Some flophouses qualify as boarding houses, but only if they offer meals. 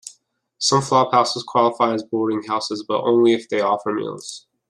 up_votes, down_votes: 2, 0